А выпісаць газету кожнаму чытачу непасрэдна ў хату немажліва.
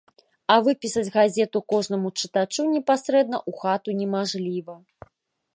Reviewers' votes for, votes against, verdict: 1, 2, rejected